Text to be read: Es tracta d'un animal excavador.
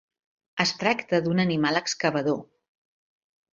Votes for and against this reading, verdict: 6, 0, accepted